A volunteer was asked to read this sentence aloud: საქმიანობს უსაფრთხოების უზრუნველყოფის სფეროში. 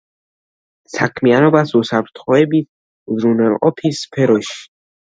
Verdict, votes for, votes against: rejected, 0, 2